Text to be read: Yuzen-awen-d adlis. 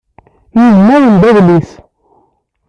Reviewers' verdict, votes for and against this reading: rejected, 0, 2